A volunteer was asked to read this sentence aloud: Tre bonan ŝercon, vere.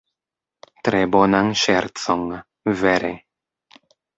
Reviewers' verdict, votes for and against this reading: accepted, 2, 0